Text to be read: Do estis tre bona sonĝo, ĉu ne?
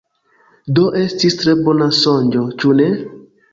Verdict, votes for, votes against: accepted, 2, 0